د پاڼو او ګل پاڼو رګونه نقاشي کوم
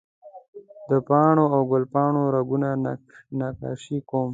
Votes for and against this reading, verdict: 2, 0, accepted